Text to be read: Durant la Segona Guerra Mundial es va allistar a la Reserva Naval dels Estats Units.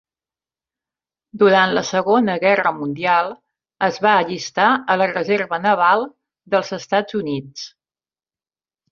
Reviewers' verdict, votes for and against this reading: accepted, 3, 0